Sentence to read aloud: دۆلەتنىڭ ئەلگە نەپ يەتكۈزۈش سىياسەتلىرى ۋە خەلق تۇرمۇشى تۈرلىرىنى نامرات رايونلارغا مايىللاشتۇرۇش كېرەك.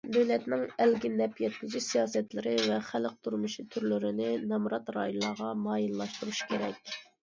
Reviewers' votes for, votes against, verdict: 2, 0, accepted